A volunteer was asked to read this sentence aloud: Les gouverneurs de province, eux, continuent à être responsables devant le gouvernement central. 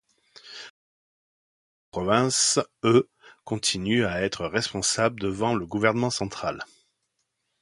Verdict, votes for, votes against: rejected, 0, 2